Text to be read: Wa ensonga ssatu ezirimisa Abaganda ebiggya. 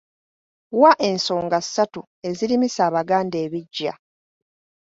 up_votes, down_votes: 2, 0